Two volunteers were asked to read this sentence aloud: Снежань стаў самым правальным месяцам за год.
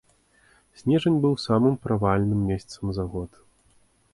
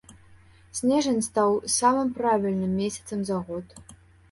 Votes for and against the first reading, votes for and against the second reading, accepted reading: 3, 1, 0, 2, first